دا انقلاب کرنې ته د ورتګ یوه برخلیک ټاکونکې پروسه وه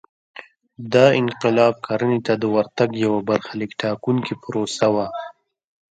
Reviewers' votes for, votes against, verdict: 1, 2, rejected